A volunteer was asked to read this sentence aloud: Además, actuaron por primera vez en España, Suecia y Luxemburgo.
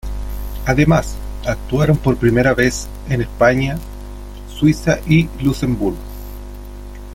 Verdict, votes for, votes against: rejected, 1, 2